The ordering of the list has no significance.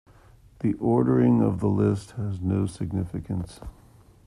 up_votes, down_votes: 0, 3